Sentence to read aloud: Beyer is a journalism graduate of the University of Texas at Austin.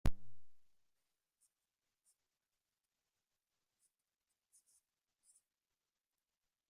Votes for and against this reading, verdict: 0, 2, rejected